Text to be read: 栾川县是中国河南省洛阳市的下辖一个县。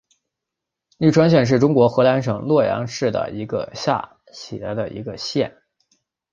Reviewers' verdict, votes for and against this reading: rejected, 3, 4